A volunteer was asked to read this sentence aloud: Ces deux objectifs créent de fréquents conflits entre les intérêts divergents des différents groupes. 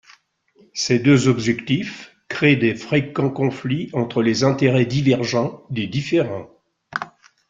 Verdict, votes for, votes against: rejected, 1, 2